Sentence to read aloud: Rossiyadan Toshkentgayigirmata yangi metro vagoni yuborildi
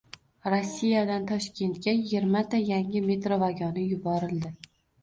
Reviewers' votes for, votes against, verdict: 1, 2, rejected